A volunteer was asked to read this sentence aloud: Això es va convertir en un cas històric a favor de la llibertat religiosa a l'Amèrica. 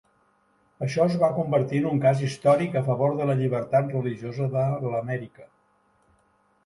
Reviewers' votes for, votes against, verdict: 0, 2, rejected